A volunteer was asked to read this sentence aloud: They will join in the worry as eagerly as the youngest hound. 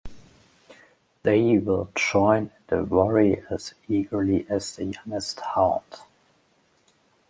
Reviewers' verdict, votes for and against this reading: rejected, 0, 2